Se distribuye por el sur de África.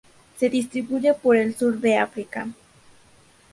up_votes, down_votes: 2, 0